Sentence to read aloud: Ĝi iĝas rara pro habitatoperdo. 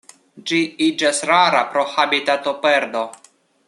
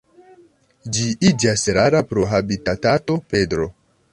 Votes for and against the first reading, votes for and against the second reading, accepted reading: 2, 0, 1, 2, first